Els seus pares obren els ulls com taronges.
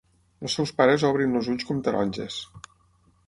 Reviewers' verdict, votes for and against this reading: rejected, 3, 6